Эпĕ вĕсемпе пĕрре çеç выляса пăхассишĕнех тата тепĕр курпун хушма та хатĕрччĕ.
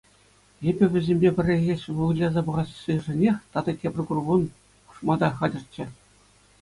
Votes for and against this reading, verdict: 2, 0, accepted